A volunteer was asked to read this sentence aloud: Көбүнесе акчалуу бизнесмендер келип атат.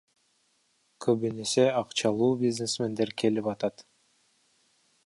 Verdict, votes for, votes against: accepted, 2, 1